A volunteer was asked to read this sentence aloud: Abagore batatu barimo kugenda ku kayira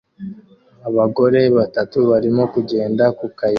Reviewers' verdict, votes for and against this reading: rejected, 1, 2